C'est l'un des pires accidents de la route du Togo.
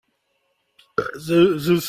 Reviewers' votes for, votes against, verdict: 0, 2, rejected